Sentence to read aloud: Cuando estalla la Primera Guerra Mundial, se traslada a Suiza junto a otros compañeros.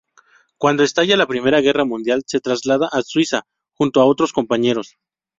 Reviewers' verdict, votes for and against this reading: accepted, 2, 0